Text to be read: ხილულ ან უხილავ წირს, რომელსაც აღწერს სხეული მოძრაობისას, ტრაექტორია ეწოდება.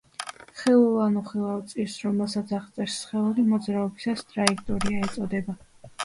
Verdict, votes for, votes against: accepted, 3, 0